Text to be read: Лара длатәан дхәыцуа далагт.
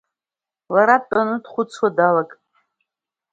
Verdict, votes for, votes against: rejected, 0, 2